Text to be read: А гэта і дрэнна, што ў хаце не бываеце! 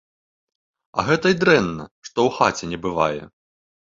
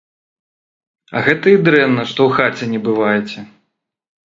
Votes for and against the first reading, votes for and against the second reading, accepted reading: 0, 3, 4, 0, second